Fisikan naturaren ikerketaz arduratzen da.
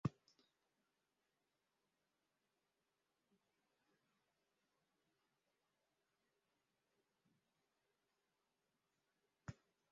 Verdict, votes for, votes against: rejected, 0, 2